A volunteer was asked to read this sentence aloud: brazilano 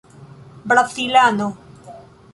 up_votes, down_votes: 1, 2